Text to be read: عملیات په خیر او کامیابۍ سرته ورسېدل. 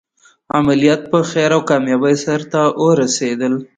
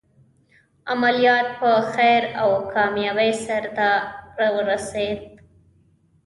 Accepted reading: first